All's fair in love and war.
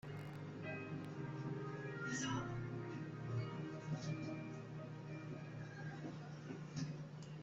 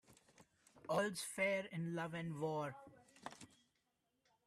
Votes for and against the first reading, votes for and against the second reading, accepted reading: 0, 2, 2, 0, second